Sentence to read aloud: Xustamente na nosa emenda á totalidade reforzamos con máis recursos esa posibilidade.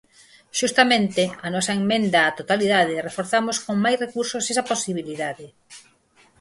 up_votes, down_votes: 0, 4